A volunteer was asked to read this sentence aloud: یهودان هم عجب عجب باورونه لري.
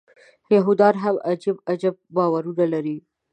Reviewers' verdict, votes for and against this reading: accepted, 2, 0